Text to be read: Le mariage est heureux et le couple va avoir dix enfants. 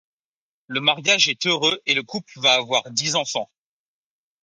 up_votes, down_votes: 2, 0